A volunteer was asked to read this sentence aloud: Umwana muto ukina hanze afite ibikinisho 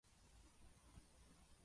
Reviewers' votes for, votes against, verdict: 0, 2, rejected